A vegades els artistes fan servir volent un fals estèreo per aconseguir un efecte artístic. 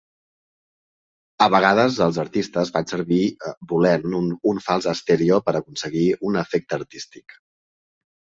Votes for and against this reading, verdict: 2, 1, accepted